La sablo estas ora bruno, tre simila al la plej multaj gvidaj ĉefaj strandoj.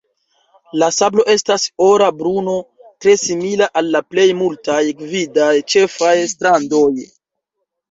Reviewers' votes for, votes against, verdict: 2, 0, accepted